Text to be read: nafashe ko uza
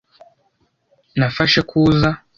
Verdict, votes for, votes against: accepted, 3, 0